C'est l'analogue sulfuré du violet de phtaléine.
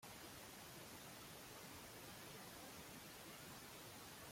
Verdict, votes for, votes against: rejected, 0, 2